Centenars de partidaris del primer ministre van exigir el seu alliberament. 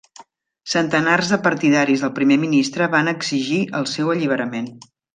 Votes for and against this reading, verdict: 3, 0, accepted